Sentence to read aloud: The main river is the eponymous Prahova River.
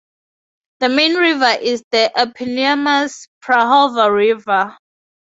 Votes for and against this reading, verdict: 2, 0, accepted